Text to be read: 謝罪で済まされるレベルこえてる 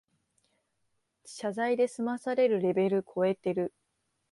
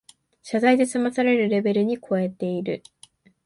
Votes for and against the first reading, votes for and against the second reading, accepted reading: 2, 0, 0, 2, first